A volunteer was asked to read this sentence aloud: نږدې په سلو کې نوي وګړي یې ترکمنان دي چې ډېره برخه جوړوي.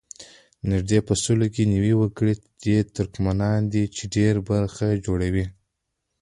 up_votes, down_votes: 2, 0